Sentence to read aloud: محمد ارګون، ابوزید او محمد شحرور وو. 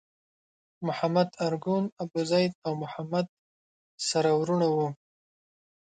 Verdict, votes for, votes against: rejected, 0, 2